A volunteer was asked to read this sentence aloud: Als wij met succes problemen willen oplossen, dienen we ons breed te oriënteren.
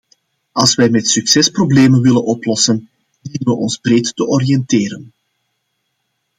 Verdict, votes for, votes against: accepted, 2, 0